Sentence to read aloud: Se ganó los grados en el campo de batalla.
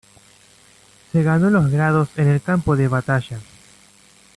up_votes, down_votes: 2, 0